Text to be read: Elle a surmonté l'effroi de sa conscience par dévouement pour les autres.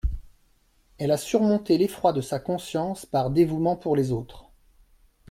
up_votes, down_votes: 2, 0